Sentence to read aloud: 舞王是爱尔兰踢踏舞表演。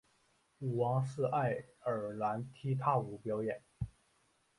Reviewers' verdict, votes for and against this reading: accepted, 2, 1